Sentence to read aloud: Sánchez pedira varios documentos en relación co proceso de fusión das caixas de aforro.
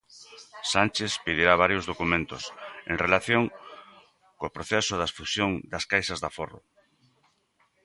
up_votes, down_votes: 0, 2